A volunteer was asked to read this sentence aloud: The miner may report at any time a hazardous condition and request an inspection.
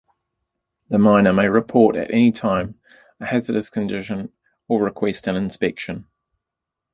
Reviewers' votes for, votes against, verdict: 0, 2, rejected